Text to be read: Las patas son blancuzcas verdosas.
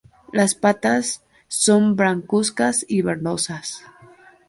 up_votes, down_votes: 0, 2